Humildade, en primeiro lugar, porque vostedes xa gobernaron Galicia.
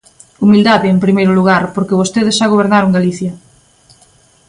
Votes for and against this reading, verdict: 2, 0, accepted